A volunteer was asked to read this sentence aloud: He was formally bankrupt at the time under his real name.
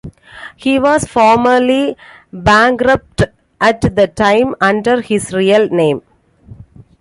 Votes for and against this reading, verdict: 2, 0, accepted